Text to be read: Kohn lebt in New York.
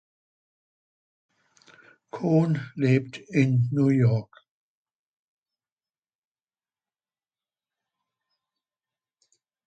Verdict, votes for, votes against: accepted, 2, 0